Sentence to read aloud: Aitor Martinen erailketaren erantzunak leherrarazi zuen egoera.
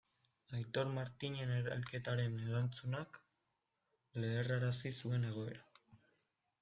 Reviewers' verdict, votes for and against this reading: rejected, 1, 2